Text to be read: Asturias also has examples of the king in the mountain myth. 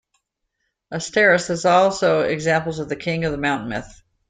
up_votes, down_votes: 0, 2